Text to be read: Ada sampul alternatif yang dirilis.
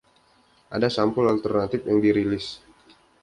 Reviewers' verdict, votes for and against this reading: accepted, 2, 0